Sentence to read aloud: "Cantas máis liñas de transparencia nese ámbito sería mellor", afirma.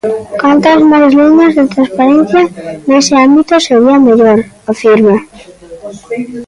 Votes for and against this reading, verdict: 0, 2, rejected